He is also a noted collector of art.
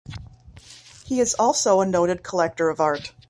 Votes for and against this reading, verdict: 2, 0, accepted